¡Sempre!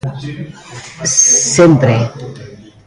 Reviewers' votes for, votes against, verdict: 0, 2, rejected